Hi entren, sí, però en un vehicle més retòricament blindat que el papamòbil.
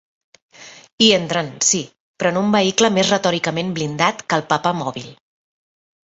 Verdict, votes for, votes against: accepted, 2, 0